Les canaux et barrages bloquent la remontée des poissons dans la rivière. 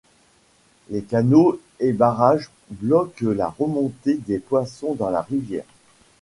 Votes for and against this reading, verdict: 1, 3, rejected